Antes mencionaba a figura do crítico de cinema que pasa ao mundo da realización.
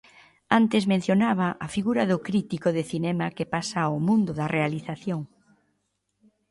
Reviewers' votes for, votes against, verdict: 2, 0, accepted